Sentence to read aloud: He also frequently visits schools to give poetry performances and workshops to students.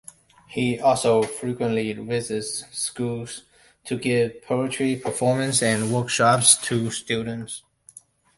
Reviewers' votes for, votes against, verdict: 1, 2, rejected